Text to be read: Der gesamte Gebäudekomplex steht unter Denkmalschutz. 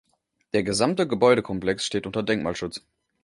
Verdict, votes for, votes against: accepted, 2, 0